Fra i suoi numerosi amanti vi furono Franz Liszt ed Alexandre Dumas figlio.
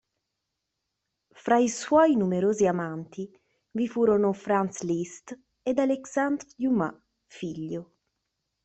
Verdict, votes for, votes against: rejected, 0, 2